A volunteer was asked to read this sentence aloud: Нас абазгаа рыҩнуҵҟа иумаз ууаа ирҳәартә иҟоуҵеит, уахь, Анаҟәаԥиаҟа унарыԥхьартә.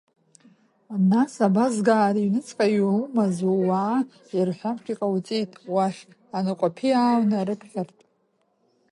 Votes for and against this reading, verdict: 0, 2, rejected